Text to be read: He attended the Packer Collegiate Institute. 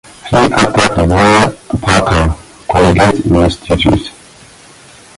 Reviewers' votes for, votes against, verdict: 0, 2, rejected